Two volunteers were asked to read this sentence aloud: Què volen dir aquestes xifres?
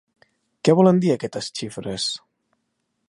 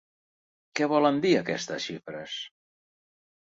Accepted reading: second